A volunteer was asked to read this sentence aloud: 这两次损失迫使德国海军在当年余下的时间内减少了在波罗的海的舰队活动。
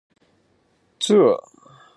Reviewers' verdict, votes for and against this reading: rejected, 0, 5